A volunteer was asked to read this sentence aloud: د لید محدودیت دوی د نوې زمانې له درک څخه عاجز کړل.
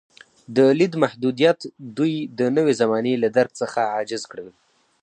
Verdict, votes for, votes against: accepted, 4, 0